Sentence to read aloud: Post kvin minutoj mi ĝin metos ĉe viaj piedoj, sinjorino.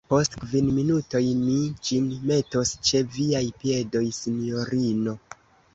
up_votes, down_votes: 2, 0